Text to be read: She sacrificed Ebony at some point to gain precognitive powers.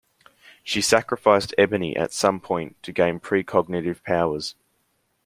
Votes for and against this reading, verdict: 2, 0, accepted